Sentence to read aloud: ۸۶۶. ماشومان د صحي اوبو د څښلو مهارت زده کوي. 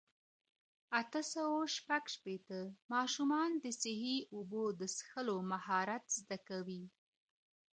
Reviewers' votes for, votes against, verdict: 0, 2, rejected